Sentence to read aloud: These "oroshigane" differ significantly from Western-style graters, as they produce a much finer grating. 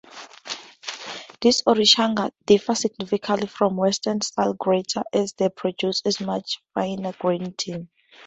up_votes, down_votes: 0, 2